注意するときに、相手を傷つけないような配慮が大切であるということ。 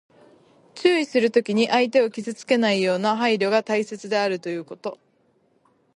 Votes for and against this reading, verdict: 2, 0, accepted